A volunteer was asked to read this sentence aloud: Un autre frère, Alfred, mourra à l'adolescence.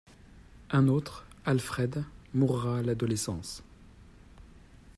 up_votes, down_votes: 0, 2